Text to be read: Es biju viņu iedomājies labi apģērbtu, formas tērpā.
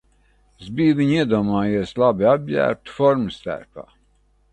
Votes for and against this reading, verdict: 2, 0, accepted